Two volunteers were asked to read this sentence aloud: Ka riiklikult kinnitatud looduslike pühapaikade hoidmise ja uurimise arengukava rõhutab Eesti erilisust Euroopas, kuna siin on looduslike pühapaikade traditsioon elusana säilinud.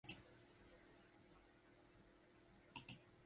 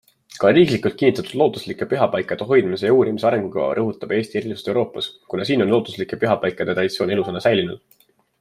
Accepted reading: second